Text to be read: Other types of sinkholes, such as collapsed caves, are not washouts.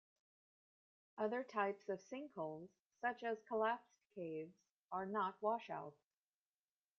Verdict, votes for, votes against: rejected, 0, 2